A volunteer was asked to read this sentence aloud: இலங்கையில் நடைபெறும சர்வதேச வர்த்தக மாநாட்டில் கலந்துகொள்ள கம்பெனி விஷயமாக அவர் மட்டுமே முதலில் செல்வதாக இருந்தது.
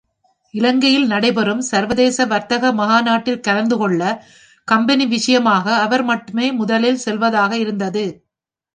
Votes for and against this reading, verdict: 1, 2, rejected